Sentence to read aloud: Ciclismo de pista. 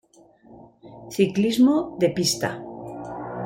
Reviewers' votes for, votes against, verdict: 2, 0, accepted